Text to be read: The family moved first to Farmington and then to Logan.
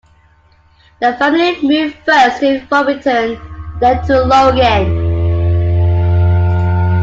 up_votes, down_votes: 1, 2